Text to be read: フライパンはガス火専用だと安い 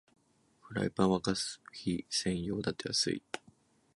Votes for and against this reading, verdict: 3, 0, accepted